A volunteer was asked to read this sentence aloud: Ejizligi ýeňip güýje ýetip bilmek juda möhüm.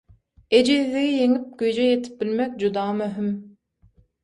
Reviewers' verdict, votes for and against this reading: accepted, 6, 0